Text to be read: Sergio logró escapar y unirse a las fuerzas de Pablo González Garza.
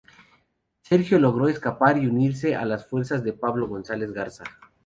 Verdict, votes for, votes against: accepted, 2, 0